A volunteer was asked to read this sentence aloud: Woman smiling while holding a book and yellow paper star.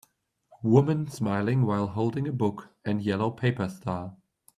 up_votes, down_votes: 2, 0